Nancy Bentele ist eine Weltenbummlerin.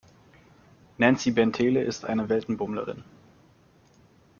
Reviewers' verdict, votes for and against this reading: accepted, 2, 0